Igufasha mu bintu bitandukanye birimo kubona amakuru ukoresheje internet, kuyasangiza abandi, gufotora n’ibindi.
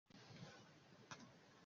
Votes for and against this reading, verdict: 0, 2, rejected